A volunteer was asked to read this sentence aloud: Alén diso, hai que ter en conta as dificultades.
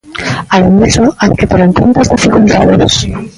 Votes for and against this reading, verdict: 1, 2, rejected